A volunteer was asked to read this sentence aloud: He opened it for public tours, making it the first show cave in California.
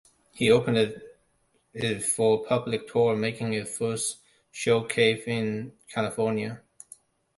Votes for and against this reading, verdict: 0, 3, rejected